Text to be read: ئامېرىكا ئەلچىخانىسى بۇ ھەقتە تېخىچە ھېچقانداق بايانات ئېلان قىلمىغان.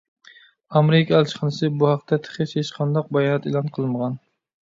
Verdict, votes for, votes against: accepted, 2, 0